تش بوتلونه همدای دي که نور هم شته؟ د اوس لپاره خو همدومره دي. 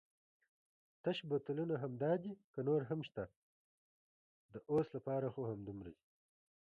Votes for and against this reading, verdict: 2, 0, accepted